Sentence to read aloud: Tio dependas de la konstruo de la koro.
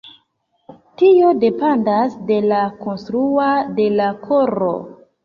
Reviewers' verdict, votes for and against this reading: rejected, 0, 2